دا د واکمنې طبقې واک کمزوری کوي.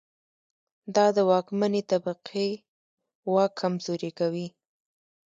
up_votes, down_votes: 3, 0